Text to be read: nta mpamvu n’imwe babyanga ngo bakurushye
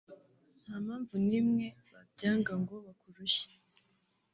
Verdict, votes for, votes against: rejected, 0, 2